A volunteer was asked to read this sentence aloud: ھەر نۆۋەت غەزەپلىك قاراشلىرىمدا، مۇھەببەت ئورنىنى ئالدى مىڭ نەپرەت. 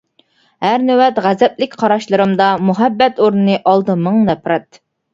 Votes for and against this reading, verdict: 2, 0, accepted